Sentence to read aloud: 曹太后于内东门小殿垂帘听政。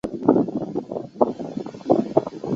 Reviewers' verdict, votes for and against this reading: rejected, 0, 3